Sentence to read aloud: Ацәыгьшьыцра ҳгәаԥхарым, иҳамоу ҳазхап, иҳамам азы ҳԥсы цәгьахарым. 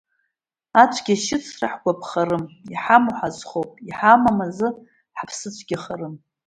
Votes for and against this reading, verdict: 1, 4, rejected